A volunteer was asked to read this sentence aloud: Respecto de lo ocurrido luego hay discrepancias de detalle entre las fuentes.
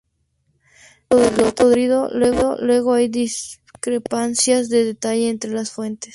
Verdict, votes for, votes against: accepted, 2, 0